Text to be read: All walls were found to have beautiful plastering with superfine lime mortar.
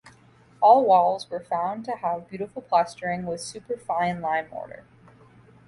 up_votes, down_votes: 2, 0